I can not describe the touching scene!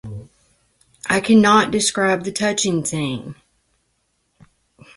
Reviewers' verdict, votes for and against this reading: accepted, 2, 1